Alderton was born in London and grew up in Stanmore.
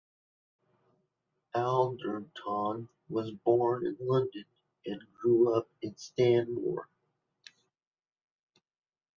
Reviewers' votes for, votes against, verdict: 2, 0, accepted